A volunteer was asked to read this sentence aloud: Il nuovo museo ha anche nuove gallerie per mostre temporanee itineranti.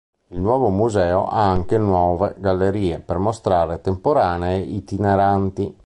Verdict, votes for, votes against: rejected, 2, 4